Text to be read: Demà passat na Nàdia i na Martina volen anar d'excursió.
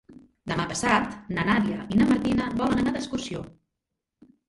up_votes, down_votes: 2, 0